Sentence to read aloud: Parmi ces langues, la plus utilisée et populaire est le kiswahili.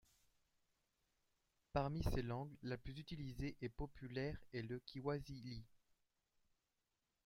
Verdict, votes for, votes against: rejected, 0, 2